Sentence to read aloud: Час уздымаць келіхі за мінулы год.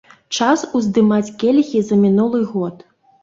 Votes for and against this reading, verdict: 3, 0, accepted